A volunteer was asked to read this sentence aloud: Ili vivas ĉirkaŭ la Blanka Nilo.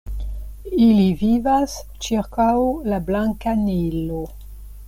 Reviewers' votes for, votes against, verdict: 2, 0, accepted